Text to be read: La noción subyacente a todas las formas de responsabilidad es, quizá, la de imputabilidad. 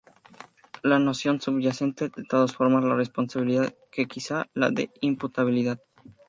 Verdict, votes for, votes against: rejected, 0, 4